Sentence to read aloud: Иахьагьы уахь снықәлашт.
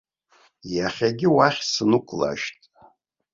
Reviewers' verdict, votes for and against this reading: rejected, 1, 2